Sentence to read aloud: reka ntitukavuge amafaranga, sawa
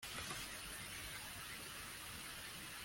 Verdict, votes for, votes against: rejected, 0, 2